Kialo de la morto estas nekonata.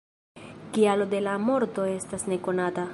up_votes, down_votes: 1, 2